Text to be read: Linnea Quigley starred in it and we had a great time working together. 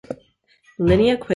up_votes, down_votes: 0, 2